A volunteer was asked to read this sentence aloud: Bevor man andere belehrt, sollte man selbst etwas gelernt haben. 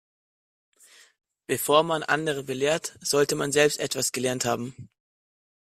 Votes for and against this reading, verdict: 2, 0, accepted